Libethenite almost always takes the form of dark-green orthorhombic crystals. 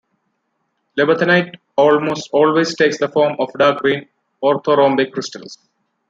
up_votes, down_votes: 2, 0